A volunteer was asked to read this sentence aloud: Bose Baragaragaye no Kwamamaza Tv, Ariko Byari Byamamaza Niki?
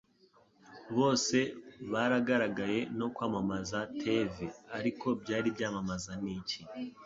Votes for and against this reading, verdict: 2, 0, accepted